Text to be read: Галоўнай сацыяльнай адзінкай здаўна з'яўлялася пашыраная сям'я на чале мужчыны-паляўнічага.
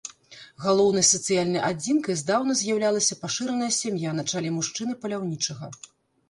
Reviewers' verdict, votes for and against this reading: rejected, 0, 2